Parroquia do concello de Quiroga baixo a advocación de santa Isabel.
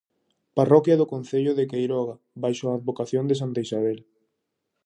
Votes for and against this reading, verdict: 0, 2, rejected